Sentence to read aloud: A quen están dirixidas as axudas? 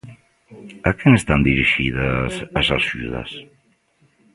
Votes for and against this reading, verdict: 1, 2, rejected